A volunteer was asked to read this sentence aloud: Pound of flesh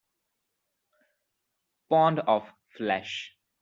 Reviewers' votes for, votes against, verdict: 1, 2, rejected